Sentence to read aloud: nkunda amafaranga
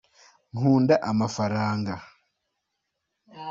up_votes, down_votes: 2, 0